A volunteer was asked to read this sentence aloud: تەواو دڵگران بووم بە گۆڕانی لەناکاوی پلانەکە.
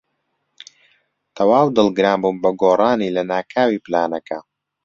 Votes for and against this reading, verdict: 3, 0, accepted